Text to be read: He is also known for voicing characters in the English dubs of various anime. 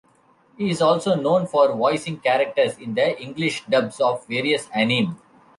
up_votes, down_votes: 1, 2